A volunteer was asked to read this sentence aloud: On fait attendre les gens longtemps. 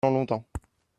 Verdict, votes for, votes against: rejected, 0, 2